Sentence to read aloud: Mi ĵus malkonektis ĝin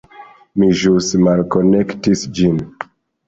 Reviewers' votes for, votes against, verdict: 2, 0, accepted